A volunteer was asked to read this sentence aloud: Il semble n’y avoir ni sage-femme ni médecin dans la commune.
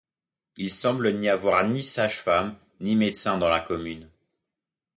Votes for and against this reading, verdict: 2, 0, accepted